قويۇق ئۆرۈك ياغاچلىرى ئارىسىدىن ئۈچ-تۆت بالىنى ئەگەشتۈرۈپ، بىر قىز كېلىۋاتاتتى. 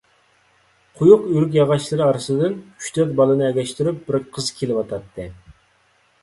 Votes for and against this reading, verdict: 2, 0, accepted